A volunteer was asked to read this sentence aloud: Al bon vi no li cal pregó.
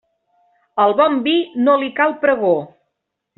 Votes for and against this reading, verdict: 3, 0, accepted